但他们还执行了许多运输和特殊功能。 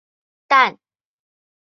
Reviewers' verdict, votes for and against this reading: rejected, 3, 4